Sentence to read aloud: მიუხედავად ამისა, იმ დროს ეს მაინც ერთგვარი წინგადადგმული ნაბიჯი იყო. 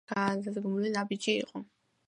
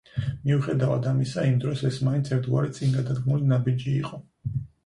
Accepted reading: second